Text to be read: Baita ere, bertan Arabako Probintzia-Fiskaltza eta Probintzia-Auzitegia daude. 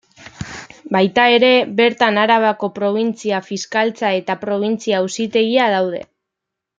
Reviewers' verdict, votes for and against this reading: accepted, 2, 0